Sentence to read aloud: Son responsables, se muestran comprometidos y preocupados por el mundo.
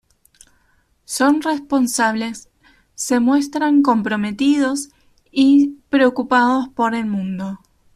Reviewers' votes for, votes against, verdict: 2, 0, accepted